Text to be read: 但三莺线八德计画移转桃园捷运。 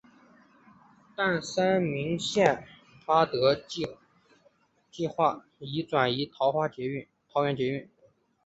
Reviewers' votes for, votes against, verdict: 0, 4, rejected